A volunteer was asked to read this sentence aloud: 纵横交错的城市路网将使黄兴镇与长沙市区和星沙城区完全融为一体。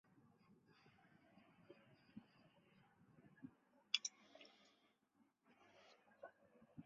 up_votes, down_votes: 0, 2